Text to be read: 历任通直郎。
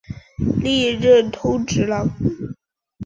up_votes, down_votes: 2, 1